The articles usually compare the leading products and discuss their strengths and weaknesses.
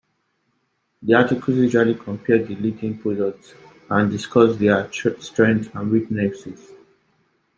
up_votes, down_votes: 1, 2